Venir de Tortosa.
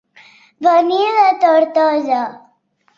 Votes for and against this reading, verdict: 1, 2, rejected